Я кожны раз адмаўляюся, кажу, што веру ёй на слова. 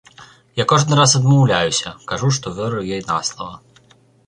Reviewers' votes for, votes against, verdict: 3, 0, accepted